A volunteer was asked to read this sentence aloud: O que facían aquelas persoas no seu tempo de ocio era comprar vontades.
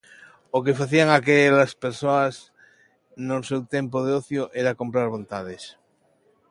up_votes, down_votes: 2, 1